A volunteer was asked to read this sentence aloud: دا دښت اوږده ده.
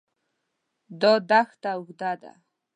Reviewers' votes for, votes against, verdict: 0, 2, rejected